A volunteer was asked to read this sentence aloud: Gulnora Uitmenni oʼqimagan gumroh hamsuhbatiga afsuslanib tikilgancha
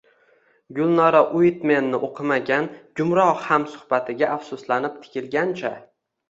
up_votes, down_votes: 1, 2